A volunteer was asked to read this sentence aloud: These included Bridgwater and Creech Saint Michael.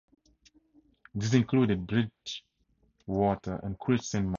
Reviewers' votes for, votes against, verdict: 0, 4, rejected